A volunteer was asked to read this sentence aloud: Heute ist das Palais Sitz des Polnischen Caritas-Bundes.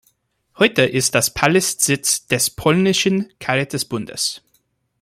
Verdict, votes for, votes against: rejected, 0, 2